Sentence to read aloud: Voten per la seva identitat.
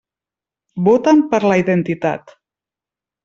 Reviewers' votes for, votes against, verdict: 0, 2, rejected